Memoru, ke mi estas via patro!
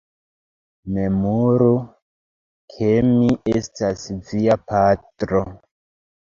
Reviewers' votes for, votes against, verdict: 1, 2, rejected